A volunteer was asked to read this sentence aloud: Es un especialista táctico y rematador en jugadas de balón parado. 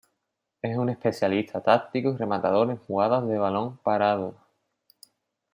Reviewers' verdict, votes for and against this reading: accepted, 2, 1